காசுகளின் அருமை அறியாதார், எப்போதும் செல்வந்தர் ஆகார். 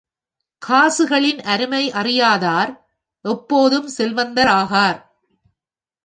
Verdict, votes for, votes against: accepted, 2, 0